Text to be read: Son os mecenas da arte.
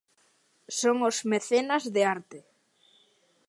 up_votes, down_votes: 0, 2